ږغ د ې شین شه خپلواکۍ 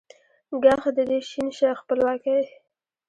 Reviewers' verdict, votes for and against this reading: accepted, 2, 0